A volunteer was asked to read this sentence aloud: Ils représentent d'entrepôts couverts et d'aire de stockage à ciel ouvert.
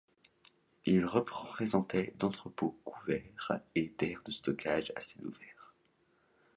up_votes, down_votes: 0, 2